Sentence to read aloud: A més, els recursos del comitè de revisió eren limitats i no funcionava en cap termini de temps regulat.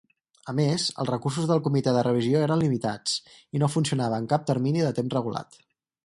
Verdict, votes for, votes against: accepted, 4, 0